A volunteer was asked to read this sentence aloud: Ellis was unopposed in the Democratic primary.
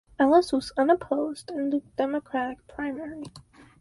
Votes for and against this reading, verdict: 2, 4, rejected